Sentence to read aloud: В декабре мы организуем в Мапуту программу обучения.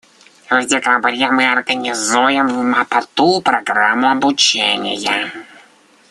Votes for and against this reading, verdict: 0, 2, rejected